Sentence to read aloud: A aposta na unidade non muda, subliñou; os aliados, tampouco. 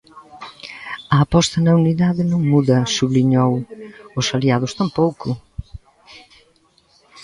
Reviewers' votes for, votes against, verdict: 1, 2, rejected